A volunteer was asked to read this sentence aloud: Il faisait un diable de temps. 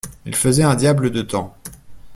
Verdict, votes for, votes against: accepted, 2, 0